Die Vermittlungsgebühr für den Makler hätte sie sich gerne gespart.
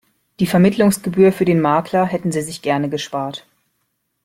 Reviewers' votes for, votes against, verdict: 1, 2, rejected